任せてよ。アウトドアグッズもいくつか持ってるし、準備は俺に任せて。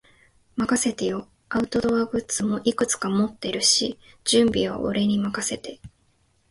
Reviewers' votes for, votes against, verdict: 0, 2, rejected